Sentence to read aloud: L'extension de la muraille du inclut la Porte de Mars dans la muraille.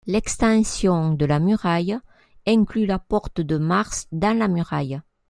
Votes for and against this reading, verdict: 1, 2, rejected